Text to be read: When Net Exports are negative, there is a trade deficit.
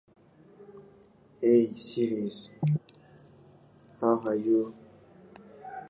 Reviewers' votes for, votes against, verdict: 0, 2, rejected